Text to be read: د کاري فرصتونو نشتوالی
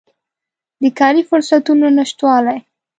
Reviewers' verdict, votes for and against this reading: accepted, 2, 0